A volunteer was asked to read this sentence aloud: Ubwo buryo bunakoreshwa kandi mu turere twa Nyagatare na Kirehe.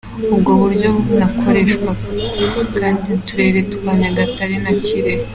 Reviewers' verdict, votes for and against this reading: accepted, 2, 1